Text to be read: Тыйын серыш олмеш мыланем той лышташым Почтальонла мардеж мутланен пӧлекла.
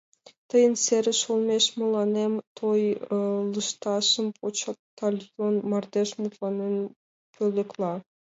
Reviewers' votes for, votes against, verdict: 0, 2, rejected